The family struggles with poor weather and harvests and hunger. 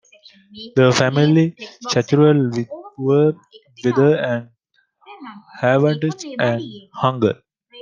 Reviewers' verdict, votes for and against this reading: rejected, 0, 2